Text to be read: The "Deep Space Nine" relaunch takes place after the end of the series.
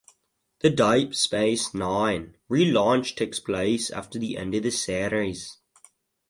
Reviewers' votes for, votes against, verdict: 0, 2, rejected